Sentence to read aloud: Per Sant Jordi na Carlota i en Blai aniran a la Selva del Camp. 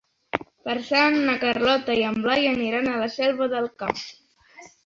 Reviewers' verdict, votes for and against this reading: rejected, 0, 3